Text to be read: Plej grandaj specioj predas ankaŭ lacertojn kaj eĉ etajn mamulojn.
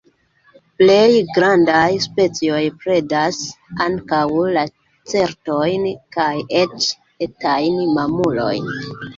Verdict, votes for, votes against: accepted, 2, 1